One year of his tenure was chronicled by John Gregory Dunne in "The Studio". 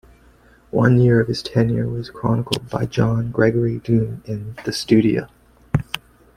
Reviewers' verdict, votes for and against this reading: accepted, 2, 1